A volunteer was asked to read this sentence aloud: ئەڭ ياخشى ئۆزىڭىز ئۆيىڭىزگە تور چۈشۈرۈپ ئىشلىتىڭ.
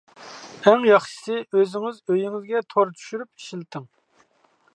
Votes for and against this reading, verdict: 0, 2, rejected